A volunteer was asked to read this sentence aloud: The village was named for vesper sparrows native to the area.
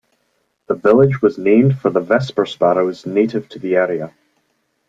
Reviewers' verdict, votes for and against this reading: rejected, 1, 2